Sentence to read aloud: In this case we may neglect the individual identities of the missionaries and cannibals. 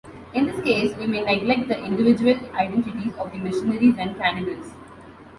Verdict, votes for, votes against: accepted, 2, 0